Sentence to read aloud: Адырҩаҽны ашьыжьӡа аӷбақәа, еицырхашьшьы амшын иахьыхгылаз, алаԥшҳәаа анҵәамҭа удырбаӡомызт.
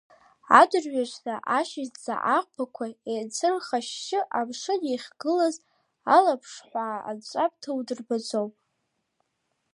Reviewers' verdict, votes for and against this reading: accepted, 2, 1